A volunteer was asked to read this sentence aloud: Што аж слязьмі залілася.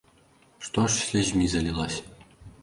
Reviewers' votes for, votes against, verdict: 1, 2, rejected